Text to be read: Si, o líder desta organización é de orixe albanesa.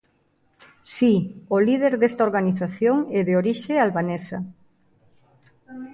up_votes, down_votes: 1, 2